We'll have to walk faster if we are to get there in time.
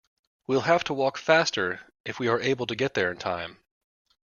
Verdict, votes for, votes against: rejected, 1, 2